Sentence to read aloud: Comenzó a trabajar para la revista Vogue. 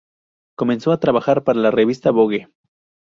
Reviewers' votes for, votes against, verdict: 0, 2, rejected